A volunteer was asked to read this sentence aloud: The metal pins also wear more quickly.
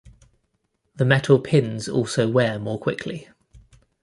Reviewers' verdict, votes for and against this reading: accepted, 2, 0